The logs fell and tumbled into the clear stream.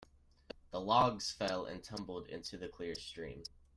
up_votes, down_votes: 2, 1